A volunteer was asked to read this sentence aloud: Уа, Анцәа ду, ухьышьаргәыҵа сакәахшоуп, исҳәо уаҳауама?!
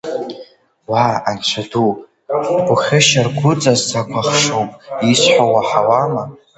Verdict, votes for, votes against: rejected, 1, 2